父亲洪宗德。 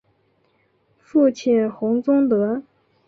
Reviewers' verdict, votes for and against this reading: accepted, 2, 0